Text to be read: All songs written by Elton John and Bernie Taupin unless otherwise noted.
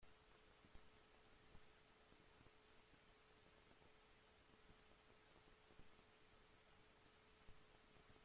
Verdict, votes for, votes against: rejected, 0, 2